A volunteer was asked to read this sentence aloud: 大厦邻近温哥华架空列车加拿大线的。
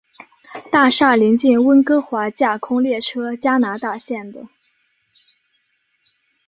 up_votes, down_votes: 2, 1